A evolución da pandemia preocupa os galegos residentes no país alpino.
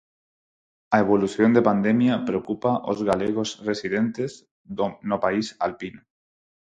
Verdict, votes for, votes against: rejected, 2, 4